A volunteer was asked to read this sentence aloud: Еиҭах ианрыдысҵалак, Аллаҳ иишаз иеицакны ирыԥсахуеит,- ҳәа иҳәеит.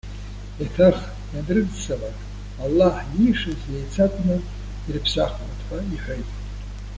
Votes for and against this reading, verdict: 1, 2, rejected